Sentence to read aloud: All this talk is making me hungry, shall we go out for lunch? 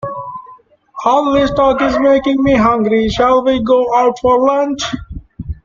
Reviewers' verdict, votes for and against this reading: rejected, 0, 2